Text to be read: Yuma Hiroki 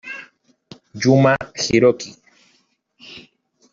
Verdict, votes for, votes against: accepted, 2, 0